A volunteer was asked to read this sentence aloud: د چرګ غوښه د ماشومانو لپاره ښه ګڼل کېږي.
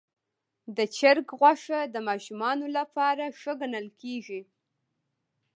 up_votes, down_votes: 1, 2